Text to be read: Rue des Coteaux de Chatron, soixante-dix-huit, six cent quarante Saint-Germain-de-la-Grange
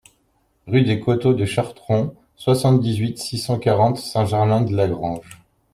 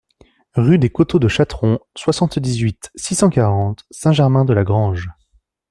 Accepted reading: second